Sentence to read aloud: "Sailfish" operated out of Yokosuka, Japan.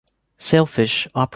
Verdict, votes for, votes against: rejected, 0, 2